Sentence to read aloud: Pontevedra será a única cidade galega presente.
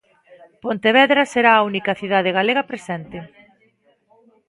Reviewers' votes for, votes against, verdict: 0, 2, rejected